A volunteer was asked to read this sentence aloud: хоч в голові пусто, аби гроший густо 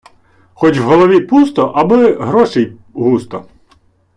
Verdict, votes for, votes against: rejected, 1, 2